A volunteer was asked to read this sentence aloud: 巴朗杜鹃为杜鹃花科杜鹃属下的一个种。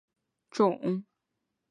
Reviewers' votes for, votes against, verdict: 1, 2, rejected